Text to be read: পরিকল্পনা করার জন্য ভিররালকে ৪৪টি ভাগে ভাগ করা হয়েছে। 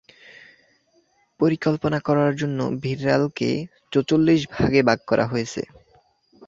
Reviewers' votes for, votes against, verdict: 0, 2, rejected